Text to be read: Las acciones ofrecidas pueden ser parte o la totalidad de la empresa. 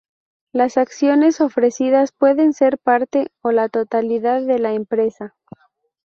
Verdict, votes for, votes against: accepted, 4, 0